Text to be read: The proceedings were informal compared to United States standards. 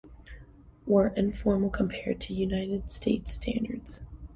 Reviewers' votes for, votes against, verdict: 1, 2, rejected